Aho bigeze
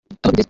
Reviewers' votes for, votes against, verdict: 1, 2, rejected